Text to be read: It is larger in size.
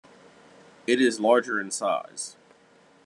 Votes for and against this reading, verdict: 2, 0, accepted